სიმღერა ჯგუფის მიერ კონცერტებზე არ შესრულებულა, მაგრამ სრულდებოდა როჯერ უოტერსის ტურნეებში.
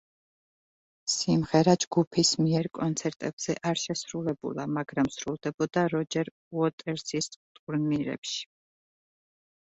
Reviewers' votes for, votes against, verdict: 0, 2, rejected